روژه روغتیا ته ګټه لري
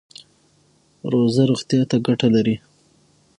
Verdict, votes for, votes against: rejected, 3, 6